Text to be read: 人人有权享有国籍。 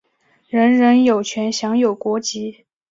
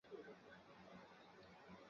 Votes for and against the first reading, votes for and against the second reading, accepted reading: 2, 0, 0, 3, first